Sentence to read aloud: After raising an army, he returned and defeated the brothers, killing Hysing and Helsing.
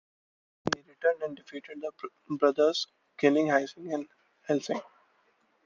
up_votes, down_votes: 1, 2